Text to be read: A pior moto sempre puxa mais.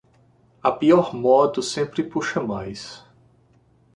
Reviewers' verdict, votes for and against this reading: accepted, 2, 0